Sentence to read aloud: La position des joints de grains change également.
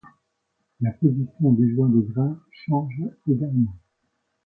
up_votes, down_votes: 2, 0